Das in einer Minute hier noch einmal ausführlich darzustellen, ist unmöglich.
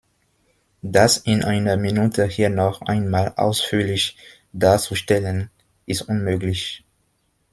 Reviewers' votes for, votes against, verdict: 2, 0, accepted